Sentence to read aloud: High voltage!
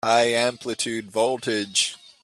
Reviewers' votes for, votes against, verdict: 0, 2, rejected